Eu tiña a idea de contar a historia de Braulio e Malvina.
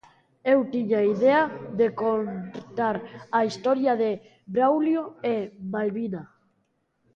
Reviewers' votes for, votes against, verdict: 1, 2, rejected